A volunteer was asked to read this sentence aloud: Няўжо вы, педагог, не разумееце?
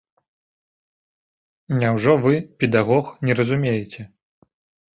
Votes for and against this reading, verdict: 2, 0, accepted